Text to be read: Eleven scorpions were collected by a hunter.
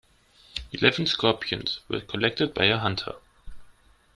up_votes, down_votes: 1, 2